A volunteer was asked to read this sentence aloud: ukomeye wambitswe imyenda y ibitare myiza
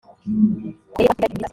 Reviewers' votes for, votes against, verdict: 0, 2, rejected